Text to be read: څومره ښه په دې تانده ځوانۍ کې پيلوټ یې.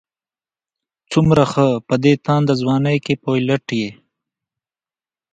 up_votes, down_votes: 1, 2